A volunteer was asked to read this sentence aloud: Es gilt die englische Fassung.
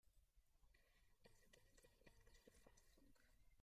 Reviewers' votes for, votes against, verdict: 0, 2, rejected